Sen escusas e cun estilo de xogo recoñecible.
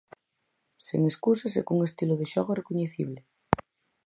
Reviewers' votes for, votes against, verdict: 4, 0, accepted